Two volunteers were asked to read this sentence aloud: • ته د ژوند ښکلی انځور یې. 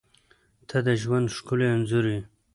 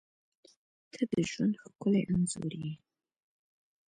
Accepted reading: first